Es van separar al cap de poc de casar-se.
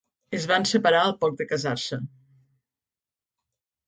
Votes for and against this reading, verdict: 0, 2, rejected